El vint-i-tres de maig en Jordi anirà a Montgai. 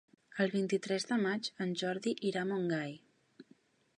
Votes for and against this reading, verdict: 1, 4, rejected